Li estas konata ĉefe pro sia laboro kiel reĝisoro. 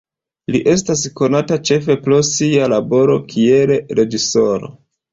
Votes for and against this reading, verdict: 2, 0, accepted